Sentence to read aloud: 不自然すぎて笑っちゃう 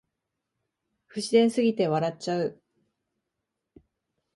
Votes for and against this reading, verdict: 2, 0, accepted